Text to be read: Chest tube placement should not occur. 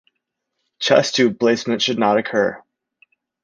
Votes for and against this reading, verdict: 3, 0, accepted